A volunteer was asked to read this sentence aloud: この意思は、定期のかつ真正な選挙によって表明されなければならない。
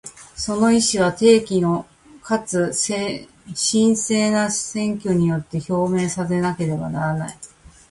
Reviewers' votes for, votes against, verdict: 0, 2, rejected